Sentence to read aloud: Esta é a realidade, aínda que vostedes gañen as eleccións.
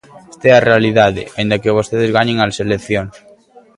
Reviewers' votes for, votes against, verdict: 3, 0, accepted